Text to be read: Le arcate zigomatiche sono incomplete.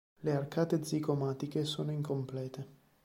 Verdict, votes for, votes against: accepted, 2, 0